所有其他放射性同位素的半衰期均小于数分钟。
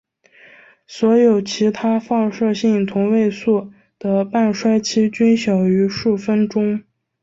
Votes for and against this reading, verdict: 3, 2, accepted